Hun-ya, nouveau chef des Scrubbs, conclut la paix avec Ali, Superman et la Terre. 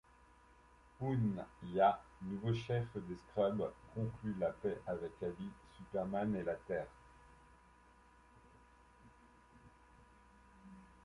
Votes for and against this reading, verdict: 2, 0, accepted